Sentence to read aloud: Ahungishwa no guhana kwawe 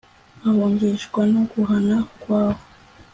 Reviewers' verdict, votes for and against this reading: accepted, 2, 0